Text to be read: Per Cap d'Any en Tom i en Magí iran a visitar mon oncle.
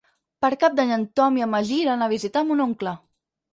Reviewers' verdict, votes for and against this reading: accepted, 10, 0